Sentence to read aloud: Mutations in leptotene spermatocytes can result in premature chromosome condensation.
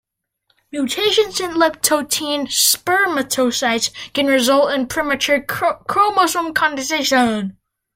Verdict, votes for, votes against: rejected, 1, 2